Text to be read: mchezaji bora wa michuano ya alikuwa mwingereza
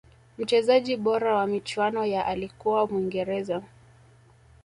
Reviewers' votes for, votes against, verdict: 2, 0, accepted